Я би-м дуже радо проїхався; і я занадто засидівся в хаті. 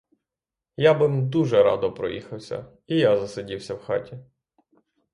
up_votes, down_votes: 0, 3